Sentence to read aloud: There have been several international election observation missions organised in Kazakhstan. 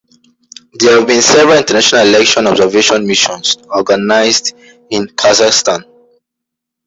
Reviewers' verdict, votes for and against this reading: rejected, 0, 2